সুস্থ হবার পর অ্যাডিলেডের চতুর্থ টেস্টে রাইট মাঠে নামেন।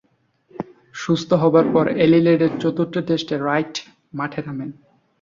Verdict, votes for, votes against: rejected, 1, 3